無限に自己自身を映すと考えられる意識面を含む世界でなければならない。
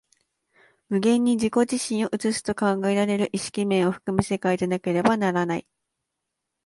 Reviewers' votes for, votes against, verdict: 2, 0, accepted